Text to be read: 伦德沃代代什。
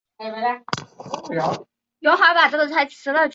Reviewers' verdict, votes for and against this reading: rejected, 0, 2